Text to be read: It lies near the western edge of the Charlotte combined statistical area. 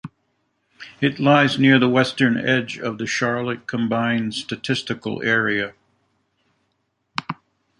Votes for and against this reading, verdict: 2, 0, accepted